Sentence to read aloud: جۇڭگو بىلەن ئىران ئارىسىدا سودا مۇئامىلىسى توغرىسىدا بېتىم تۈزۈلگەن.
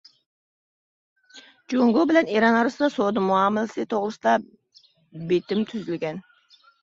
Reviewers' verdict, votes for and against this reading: accepted, 2, 0